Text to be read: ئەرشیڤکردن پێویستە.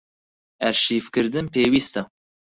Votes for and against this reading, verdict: 4, 0, accepted